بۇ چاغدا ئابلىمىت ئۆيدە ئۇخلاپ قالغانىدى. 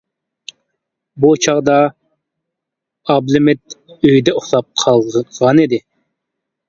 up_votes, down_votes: 1, 2